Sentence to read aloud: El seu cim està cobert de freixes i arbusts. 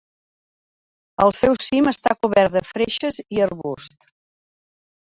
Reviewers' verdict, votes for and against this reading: accepted, 2, 0